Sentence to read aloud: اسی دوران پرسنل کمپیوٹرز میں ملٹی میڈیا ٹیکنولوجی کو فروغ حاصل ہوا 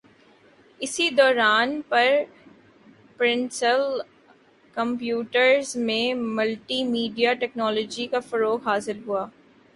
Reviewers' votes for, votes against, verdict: 1, 3, rejected